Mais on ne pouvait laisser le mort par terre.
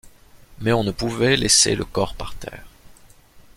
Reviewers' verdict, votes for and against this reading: rejected, 0, 2